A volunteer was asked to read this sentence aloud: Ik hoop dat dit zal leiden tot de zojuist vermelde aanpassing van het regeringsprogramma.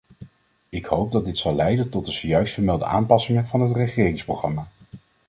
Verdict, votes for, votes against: accepted, 2, 0